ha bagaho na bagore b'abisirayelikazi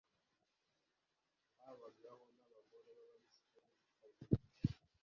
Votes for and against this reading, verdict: 1, 2, rejected